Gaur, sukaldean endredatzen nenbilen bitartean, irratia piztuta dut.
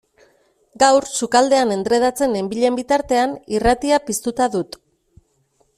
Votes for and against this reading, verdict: 2, 0, accepted